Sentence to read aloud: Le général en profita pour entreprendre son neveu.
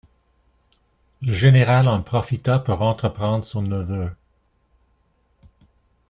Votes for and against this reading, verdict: 2, 0, accepted